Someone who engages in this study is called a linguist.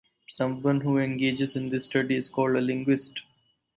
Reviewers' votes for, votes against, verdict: 2, 0, accepted